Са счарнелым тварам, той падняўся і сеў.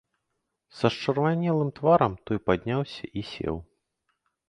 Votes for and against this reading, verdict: 1, 2, rejected